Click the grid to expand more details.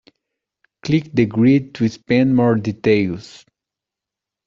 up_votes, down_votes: 2, 0